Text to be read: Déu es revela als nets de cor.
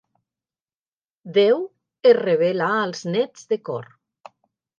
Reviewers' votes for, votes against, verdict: 3, 0, accepted